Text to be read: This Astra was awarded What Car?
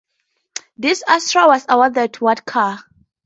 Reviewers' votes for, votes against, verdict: 4, 0, accepted